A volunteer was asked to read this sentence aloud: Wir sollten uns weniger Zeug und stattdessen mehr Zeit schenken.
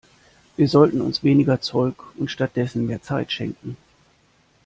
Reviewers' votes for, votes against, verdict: 2, 0, accepted